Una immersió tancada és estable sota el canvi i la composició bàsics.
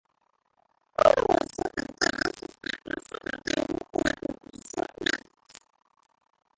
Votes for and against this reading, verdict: 0, 3, rejected